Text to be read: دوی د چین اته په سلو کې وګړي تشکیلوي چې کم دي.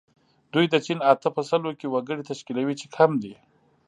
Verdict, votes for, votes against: accepted, 2, 0